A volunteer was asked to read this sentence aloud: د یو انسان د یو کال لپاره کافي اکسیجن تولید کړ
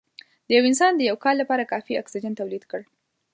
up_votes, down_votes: 4, 0